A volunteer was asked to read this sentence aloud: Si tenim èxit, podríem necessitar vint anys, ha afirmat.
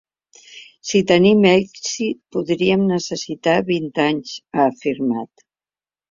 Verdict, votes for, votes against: accepted, 2, 0